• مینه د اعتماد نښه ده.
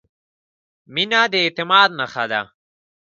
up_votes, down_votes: 1, 2